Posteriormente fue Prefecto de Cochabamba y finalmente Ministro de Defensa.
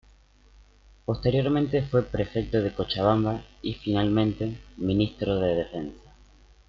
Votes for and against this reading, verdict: 0, 2, rejected